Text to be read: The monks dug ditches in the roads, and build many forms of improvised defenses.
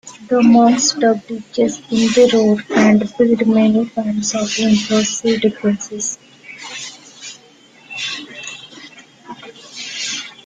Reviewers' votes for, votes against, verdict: 0, 2, rejected